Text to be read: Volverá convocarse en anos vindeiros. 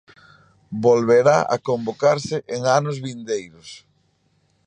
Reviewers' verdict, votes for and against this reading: rejected, 0, 2